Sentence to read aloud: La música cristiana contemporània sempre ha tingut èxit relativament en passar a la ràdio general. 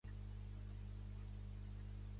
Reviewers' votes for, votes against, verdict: 0, 2, rejected